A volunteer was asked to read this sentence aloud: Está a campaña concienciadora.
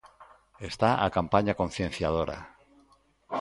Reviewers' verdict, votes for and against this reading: accepted, 2, 0